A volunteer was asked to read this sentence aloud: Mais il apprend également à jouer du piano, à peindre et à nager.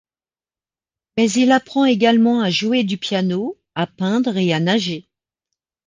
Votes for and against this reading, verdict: 2, 0, accepted